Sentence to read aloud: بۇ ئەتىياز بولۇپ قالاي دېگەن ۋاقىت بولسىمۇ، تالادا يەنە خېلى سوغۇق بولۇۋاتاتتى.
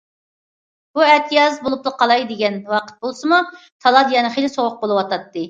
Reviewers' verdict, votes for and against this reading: rejected, 0, 2